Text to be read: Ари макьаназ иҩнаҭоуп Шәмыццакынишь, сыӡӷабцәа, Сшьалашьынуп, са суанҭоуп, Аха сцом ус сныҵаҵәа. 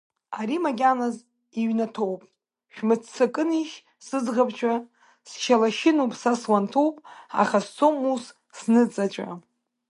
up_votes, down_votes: 3, 0